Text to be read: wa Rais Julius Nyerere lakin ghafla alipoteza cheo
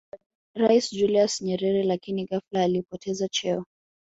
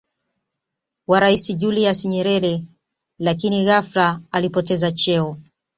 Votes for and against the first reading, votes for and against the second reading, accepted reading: 0, 2, 2, 0, second